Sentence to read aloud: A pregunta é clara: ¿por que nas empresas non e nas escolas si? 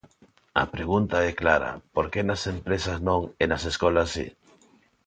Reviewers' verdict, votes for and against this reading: accepted, 2, 0